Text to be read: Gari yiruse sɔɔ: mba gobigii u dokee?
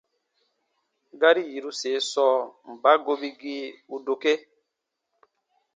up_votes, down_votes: 2, 0